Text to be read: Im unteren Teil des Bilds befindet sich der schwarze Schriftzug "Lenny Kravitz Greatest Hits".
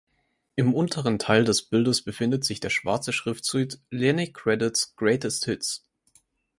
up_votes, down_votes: 2, 4